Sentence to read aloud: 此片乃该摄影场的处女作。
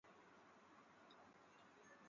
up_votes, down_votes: 0, 3